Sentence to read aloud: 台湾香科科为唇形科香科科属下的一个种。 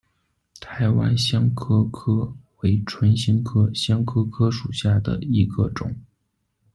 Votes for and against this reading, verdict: 2, 0, accepted